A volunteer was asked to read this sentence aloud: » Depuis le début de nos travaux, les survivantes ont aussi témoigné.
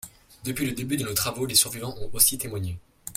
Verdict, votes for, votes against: accepted, 2, 1